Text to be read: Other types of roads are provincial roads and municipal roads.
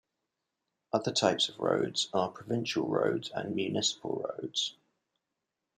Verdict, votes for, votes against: accepted, 2, 0